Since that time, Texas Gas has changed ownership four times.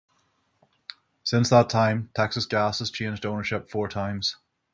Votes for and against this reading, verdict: 6, 0, accepted